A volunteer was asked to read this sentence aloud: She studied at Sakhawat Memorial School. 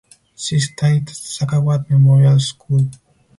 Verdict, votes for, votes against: rejected, 0, 4